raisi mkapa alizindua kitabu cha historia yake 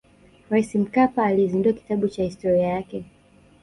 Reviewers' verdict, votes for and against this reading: accepted, 2, 0